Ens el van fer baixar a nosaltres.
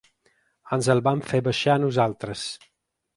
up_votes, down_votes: 2, 0